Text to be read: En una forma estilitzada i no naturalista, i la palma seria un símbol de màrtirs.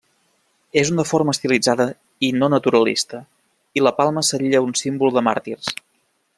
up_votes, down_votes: 0, 2